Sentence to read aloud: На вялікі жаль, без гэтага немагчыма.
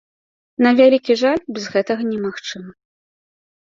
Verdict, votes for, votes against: rejected, 0, 2